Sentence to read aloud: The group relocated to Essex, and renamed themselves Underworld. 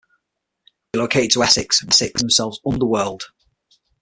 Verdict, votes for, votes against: rejected, 0, 6